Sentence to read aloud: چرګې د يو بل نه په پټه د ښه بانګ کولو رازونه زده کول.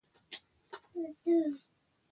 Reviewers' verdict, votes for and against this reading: accepted, 2, 0